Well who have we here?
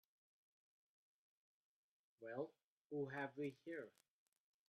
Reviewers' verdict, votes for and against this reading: rejected, 0, 2